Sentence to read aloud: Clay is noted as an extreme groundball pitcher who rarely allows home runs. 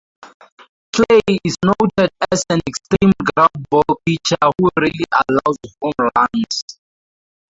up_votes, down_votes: 2, 2